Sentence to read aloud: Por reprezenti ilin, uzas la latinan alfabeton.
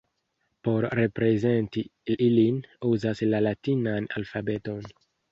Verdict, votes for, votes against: rejected, 1, 2